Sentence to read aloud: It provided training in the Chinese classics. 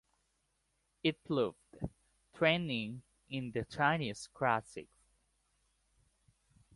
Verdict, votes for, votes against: rejected, 0, 3